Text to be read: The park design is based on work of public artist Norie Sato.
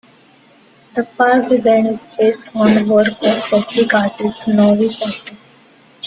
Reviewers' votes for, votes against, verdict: 1, 2, rejected